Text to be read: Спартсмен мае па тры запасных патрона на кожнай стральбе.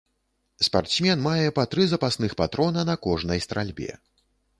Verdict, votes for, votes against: accepted, 2, 0